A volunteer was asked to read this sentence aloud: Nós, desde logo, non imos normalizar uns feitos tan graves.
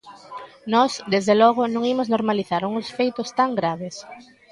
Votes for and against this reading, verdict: 2, 0, accepted